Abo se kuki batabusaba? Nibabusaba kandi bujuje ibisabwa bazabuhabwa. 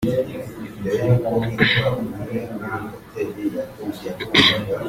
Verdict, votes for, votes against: rejected, 0, 2